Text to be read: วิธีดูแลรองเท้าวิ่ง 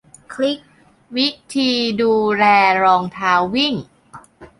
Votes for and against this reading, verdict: 1, 2, rejected